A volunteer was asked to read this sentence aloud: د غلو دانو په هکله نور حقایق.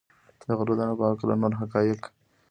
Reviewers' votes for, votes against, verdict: 1, 2, rejected